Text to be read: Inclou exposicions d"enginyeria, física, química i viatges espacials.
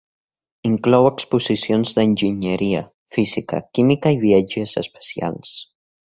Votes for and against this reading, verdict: 1, 2, rejected